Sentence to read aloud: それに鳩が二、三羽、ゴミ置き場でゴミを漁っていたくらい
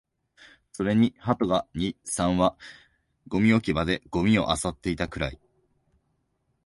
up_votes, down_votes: 2, 0